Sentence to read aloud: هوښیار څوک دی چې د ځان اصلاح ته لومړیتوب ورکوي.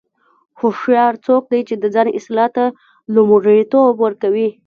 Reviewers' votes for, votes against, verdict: 1, 2, rejected